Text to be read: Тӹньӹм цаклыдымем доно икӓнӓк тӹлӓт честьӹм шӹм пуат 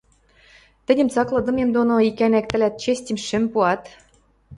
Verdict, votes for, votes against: accepted, 2, 0